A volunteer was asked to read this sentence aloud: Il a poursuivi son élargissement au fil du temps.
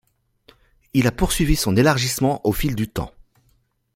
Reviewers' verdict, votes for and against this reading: accepted, 2, 0